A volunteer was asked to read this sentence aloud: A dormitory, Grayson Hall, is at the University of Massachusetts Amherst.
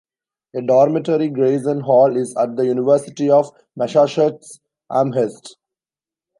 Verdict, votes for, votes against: rejected, 1, 2